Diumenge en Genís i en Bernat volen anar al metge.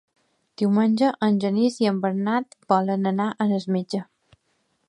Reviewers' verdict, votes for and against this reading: rejected, 1, 3